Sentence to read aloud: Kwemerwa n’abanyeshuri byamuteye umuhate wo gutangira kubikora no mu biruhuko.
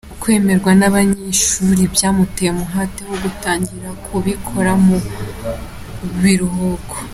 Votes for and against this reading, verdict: 2, 0, accepted